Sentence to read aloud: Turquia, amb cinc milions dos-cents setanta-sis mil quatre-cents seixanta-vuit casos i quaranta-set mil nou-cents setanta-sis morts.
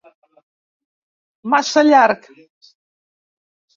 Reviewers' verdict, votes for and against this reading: rejected, 0, 2